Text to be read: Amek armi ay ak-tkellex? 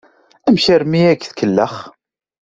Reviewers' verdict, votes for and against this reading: accepted, 2, 0